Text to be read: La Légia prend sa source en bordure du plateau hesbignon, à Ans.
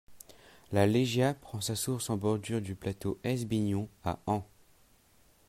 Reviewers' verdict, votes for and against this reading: accepted, 2, 0